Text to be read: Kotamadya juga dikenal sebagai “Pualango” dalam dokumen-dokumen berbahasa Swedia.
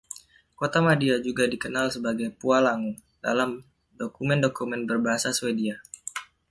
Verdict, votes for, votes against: rejected, 1, 2